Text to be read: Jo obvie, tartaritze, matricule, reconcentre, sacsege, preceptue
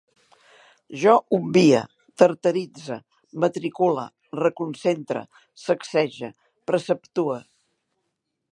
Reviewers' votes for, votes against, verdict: 1, 2, rejected